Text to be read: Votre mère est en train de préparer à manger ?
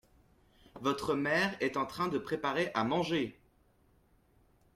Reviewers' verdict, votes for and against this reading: rejected, 1, 2